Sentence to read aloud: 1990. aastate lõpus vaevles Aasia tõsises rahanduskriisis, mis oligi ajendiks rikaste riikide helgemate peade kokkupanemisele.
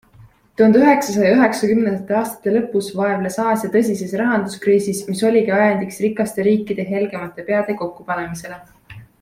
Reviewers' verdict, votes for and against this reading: rejected, 0, 2